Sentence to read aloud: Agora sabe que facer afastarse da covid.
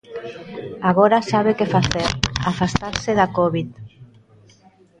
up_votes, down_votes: 2, 0